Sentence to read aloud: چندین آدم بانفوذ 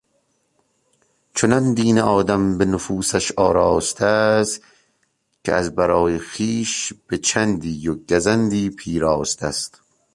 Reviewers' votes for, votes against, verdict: 0, 2, rejected